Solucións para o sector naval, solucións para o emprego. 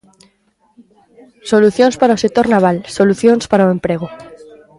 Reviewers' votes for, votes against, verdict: 1, 2, rejected